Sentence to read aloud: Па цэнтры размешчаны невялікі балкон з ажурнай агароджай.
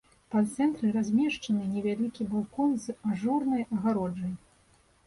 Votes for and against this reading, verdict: 1, 2, rejected